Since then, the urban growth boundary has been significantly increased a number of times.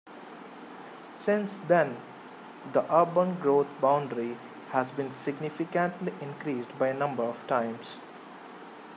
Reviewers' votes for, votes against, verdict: 1, 2, rejected